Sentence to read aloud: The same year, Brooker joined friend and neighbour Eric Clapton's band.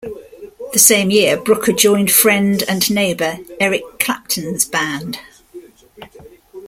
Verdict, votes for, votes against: rejected, 1, 2